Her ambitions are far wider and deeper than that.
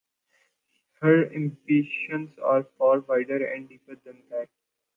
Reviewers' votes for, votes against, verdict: 2, 1, accepted